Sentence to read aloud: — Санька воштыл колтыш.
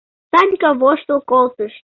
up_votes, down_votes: 2, 0